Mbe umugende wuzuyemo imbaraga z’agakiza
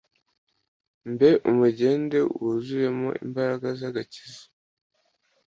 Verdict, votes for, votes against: accepted, 2, 0